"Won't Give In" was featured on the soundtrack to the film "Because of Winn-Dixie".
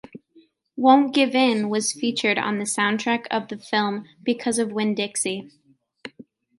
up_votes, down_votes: 1, 2